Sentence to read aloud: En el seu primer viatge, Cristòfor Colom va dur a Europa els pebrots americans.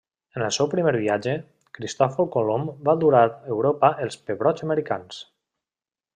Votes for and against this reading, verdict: 0, 2, rejected